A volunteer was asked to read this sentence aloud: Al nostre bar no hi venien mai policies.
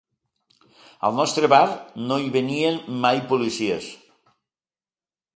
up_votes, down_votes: 2, 0